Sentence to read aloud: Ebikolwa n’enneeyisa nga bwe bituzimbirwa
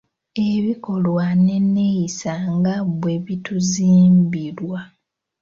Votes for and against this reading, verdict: 2, 0, accepted